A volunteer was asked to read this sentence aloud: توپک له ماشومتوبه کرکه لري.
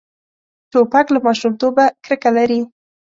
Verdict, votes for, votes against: accepted, 2, 0